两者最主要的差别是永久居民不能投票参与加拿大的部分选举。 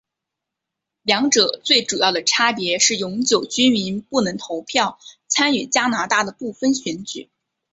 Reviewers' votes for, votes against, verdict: 4, 0, accepted